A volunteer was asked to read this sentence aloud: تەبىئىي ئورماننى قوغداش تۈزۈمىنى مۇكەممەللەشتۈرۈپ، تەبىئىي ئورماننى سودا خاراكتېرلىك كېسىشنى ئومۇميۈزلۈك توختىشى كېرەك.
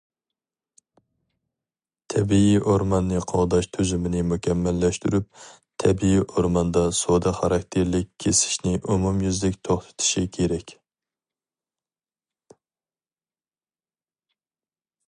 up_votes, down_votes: 0, 4